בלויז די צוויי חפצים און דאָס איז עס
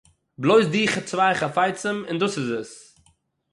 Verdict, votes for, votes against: rejected, 3, 6